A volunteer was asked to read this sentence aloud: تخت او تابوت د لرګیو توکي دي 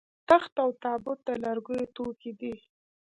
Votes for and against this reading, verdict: 2, 0, accepted